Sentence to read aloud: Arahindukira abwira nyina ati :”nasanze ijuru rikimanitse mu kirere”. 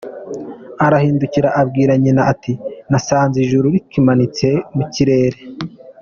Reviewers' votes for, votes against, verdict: 2, 0, accepted